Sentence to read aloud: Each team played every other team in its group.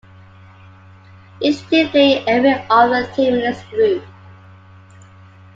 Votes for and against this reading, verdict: 2, 0, accepted